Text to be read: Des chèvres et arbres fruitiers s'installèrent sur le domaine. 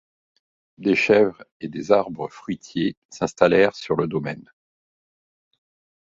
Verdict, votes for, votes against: rejected, 1, 2